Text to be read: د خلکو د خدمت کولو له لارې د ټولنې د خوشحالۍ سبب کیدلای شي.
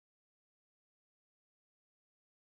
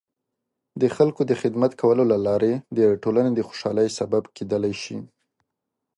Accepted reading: second